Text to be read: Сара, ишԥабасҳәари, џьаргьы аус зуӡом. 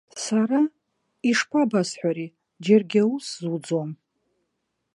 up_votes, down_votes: 2, 1